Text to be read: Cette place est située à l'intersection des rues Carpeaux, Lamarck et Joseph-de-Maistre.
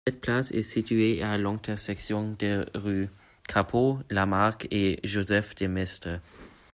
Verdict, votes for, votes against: accepted, 2, 1